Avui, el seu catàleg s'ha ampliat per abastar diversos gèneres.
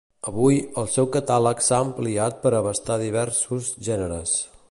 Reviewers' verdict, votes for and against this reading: accepted, 2, 0